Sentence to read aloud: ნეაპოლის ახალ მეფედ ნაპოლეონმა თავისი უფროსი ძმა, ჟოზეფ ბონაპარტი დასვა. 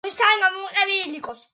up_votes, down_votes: 0, 2